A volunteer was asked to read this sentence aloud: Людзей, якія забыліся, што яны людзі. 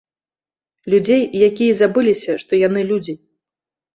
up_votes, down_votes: 2, 0